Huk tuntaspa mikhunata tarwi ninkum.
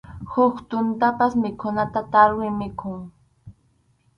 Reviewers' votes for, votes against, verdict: 0, 2, rejected